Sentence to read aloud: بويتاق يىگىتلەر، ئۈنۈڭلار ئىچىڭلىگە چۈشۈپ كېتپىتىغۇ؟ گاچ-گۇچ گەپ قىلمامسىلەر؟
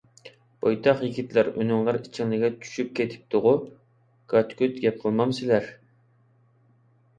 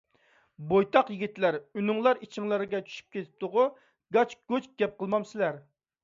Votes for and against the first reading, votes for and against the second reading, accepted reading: 2, 0, 1, 2, first